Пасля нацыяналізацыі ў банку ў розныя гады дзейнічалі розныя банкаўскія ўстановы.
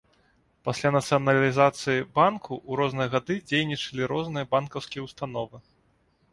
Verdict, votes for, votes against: rejected, 1, 2